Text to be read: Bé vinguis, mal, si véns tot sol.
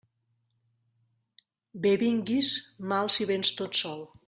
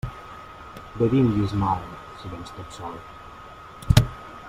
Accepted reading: first